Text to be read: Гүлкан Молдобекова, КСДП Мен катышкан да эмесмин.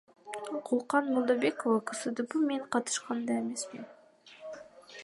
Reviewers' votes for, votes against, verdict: 1, 2, rejected